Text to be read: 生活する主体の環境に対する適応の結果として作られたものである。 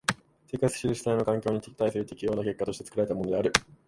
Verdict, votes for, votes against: rejected, 0, 2